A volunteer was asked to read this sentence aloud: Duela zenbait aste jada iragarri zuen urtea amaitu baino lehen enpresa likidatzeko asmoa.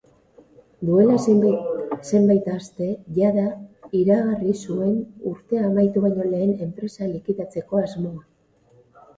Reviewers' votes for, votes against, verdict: 0, 2, rejected